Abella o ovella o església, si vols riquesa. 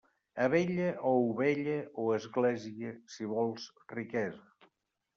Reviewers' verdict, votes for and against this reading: accepted, 2, 0